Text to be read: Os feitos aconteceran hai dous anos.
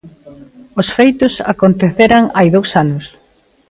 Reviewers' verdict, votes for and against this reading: accepted, 2, 0